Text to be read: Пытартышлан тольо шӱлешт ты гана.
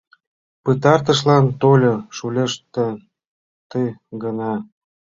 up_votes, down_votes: 3, 1